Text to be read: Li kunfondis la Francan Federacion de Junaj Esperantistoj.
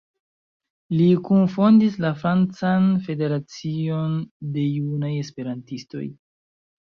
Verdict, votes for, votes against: rejected, 0, 2